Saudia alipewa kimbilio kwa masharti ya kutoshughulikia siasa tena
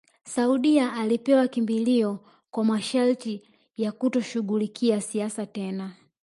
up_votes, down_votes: 0, 2